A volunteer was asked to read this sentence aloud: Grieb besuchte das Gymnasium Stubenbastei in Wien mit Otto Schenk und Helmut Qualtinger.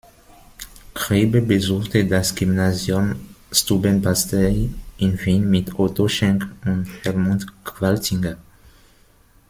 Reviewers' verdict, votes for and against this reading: rejected, 0, 2